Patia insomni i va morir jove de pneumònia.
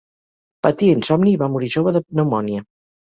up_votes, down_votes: 4, 0